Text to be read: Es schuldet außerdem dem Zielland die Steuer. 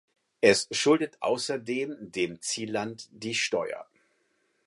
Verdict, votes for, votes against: accepted, 4, 0